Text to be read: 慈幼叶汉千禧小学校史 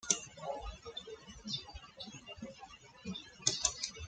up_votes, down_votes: 0, 2